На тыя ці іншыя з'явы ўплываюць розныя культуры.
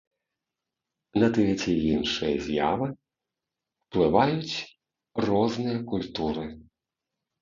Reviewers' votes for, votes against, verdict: 1, 2, rejected